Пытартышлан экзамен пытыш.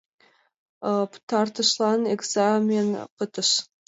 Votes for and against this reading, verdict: 2, 1, accepted